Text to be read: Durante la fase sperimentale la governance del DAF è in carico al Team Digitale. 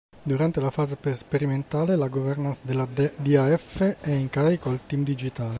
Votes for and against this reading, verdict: 0, 2, rejected